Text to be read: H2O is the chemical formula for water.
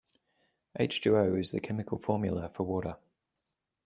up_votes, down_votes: 0, 2